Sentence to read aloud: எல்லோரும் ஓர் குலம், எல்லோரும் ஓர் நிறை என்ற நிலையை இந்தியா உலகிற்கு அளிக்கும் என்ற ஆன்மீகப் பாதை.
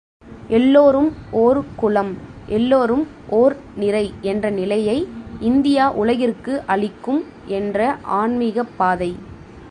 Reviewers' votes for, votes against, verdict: 2, 0, accepted